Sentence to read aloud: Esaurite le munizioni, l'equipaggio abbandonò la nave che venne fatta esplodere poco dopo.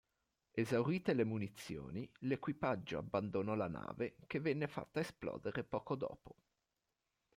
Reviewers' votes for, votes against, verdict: 2, 0, accepted